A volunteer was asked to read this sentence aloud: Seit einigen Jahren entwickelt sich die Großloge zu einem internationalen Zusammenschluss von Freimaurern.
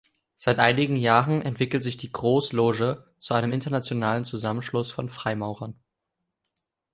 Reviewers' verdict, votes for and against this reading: accepted, 2, 0